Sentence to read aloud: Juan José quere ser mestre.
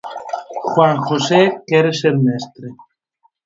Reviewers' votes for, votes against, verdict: 4, 0, accepted